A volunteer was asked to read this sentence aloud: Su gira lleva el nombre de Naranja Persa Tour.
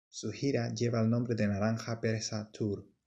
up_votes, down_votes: 2, 0